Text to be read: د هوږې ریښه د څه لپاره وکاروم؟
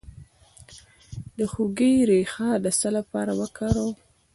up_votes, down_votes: 2, 0